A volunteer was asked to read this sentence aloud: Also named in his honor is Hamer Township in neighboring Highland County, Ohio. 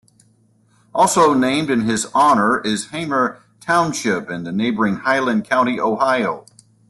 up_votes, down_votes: 0, 2